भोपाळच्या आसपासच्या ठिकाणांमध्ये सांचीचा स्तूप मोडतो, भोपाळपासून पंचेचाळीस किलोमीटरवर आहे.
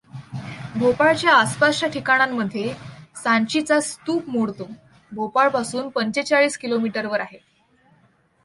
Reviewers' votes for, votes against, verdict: 2, 0, accepted